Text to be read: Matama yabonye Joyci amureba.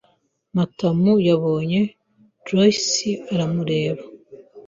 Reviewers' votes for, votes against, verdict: 1, 2, rejected